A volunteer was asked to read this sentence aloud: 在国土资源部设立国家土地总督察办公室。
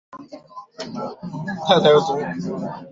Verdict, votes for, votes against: rejected, 1, 2